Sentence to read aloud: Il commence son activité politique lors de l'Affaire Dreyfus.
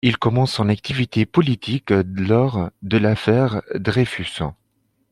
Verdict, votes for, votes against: accepted, 2, 0